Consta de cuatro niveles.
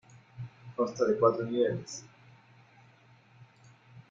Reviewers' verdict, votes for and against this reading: rejected, 1, 2